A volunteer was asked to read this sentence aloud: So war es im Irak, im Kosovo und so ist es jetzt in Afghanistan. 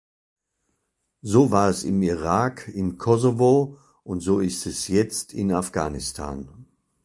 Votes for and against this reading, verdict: 2, 0, accepted